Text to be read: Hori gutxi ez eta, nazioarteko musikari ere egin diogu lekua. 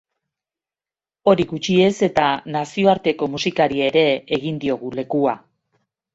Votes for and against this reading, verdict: 3, 0, accepted